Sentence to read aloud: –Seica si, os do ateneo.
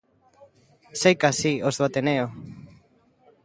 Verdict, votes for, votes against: rejected, 1, 2